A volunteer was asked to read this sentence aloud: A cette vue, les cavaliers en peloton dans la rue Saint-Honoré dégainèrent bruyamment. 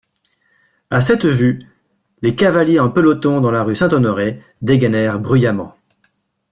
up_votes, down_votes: 2, 0